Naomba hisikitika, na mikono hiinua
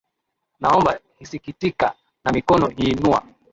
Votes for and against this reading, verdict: 0, 2, rejected